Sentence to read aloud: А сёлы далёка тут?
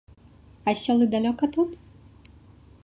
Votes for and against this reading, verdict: 2, 0, accepted